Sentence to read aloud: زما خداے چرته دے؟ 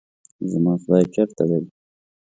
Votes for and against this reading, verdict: 3, 0, accepted